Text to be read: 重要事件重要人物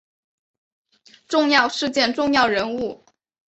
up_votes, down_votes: 2, 0